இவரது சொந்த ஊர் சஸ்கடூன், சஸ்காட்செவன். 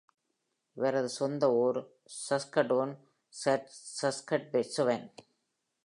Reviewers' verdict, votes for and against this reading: rejected, 0, 2